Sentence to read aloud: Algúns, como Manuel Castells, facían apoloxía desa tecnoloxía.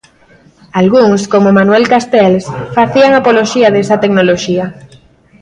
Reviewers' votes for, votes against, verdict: 2, 0, accepted